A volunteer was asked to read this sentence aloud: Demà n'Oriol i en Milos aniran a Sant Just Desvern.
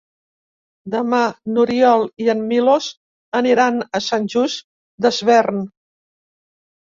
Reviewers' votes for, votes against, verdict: 2, 0, accepted